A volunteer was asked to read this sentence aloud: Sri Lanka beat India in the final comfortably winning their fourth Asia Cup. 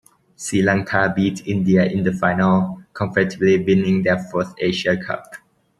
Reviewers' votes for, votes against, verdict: 2, 0, accepted